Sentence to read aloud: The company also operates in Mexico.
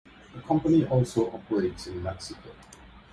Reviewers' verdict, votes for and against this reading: accepted, 2, 0